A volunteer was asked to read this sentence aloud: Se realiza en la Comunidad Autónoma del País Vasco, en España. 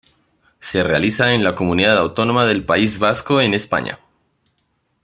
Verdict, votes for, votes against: accepted, 2, 0